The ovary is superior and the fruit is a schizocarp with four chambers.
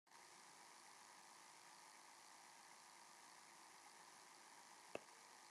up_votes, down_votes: 0, 2